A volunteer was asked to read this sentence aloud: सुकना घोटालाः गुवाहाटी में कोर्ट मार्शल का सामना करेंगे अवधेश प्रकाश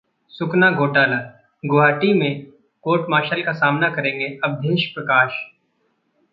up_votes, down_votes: 2, 0